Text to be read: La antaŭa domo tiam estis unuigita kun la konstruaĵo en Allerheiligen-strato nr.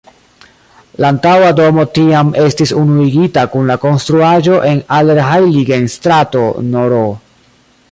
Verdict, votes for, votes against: rejected, 0, 2